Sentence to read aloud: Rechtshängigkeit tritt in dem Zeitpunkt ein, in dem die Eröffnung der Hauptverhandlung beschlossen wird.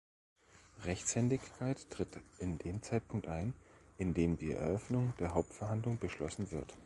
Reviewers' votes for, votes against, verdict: 0, 2, rejected